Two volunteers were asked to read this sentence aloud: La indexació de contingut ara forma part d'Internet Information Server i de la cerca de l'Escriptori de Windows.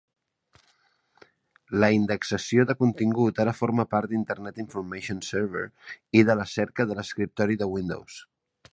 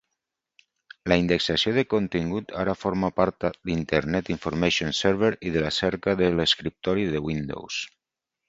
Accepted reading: first